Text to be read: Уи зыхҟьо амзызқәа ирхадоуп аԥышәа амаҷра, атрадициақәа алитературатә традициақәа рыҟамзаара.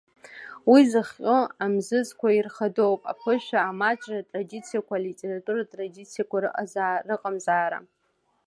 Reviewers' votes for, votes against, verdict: 1, 2, rejected